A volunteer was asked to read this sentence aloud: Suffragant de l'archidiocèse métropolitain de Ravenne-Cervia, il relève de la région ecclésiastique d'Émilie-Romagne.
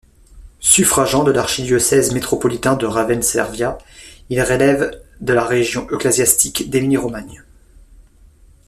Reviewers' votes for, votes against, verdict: 0, 2, rejected